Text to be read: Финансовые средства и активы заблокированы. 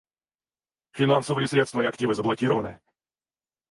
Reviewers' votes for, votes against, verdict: 4, 0, accepted